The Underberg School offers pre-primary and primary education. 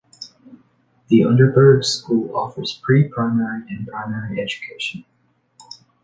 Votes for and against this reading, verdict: 1, 2, rejected